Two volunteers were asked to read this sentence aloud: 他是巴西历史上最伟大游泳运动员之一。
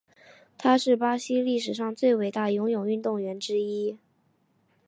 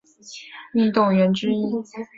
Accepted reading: first